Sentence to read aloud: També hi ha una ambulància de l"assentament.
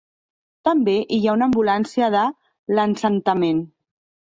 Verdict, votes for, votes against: rejected, 1, 2